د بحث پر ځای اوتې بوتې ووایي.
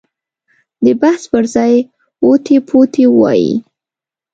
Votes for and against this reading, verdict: 1, 2, rejected